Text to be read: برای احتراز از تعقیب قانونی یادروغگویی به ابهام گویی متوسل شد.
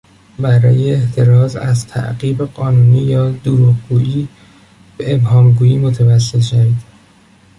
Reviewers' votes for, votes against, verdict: 0, 2, rejected